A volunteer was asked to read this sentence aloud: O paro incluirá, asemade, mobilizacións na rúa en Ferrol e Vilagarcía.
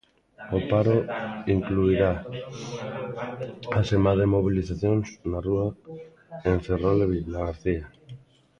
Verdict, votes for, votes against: rejected, 1, 2